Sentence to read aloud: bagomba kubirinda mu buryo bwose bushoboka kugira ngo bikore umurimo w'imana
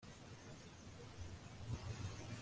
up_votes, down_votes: 0, 2